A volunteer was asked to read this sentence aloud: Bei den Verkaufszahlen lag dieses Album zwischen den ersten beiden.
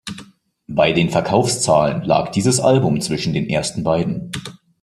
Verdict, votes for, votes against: accepted, 2, 0